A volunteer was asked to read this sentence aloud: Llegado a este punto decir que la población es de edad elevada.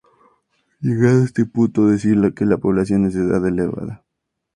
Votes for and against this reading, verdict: 2, 0, accepted